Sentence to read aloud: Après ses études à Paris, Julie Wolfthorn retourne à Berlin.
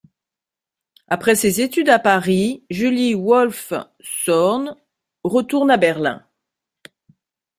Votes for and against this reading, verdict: 1, 2, rejected